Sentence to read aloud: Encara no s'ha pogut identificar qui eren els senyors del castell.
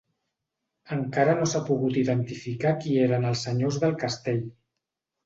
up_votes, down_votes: 2, 0